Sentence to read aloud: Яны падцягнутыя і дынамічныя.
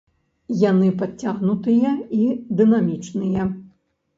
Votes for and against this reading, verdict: 2, 0, accepted